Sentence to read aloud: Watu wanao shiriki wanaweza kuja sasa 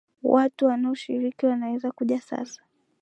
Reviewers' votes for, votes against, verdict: 2, 1, accepted